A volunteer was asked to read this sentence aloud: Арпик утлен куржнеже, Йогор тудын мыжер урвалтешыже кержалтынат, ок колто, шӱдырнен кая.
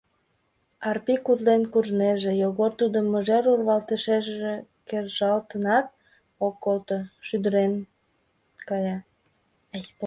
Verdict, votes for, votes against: rejected, 1, 4